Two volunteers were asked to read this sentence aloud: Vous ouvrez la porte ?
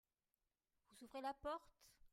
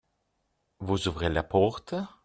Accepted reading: second